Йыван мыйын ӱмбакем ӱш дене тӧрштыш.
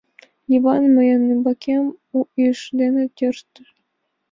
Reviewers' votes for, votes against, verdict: 2, 0, accepted